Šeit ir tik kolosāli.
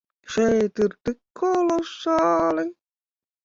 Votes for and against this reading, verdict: 2, 1, accepted